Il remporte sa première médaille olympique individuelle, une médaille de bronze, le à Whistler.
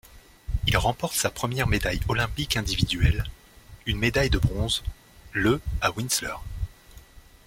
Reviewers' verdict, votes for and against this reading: rejected, 1, 2